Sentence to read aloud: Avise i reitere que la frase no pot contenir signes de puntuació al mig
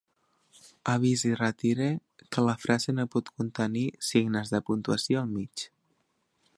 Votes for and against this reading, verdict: 1, 2, rejected